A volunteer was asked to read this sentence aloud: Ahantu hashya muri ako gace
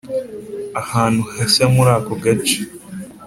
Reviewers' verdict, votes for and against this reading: accepted, 2, 0